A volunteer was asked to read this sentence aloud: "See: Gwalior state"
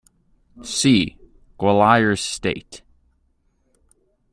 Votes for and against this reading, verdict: 2, 0, accepted